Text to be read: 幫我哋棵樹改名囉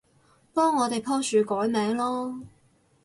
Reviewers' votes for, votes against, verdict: 0, 2, rejected